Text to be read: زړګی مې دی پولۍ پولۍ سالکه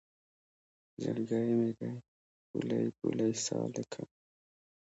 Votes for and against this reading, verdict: 2, 0, accepted